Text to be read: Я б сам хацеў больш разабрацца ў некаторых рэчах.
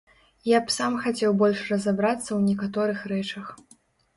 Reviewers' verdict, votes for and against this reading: accepted, 2, 0